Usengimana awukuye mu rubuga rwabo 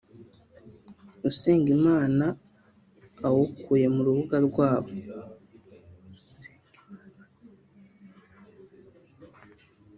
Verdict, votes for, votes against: rejected, 1, 2